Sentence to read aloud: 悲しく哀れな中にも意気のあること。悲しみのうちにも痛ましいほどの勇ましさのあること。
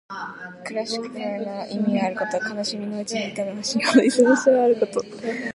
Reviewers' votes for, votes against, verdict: 1, 2, rejected